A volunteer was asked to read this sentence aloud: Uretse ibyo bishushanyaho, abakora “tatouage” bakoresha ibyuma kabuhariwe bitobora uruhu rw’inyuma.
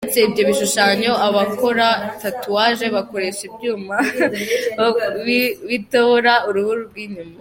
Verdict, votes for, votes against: rejected, 0, 3